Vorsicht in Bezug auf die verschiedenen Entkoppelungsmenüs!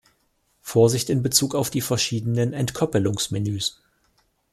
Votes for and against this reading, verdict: 1, 2, rejected